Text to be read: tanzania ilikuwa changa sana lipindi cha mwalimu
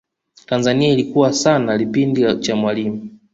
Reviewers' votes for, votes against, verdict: 0, 2, rejected